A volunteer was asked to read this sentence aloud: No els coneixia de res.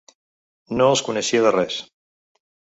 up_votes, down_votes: 3, 0